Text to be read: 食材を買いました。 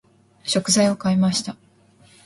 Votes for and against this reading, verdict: 2, 0, accepted